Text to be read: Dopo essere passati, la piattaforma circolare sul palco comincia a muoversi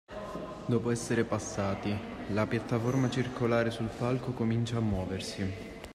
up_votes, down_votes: 0, 2